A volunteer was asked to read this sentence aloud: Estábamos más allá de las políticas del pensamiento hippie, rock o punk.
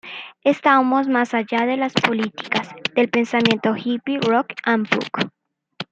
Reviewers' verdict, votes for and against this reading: rejected, 0, 2